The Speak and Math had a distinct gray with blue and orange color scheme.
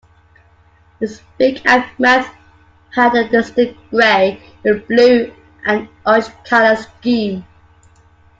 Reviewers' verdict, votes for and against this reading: rejected, 0, 2